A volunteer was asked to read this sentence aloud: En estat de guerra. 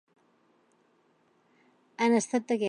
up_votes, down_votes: 0, 2